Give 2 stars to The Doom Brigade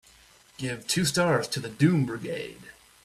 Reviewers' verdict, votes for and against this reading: rejected, 0, 2